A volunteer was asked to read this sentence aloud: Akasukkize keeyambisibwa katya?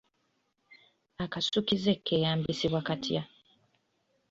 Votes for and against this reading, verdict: 1, 2, rejected